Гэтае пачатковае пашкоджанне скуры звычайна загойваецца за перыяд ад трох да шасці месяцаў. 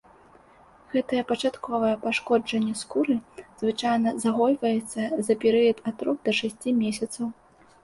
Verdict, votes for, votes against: accepted, 2, 0